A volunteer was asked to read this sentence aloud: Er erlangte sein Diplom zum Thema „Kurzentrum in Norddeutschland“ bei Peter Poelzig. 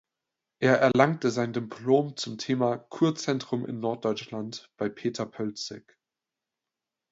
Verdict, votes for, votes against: rejected, 1, 2